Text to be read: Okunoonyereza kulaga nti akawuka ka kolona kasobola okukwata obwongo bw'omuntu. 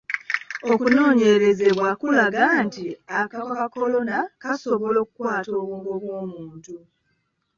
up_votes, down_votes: 1, 2